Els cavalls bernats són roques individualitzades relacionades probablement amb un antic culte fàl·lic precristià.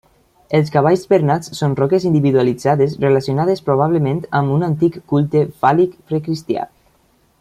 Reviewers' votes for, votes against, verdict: 2, 0, accepted